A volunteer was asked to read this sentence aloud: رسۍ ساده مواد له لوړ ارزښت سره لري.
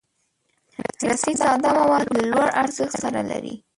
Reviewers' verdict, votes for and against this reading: rejected, 0, 3